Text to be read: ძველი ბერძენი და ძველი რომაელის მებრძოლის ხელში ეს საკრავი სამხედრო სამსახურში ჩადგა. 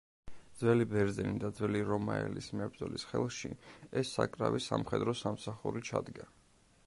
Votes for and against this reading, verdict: 1, 2, rejected